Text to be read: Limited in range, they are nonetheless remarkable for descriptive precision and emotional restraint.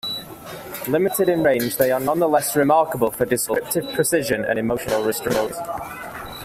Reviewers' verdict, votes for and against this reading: accepted, 2, 1